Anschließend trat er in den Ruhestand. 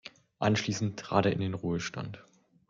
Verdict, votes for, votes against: accepted, 2, 0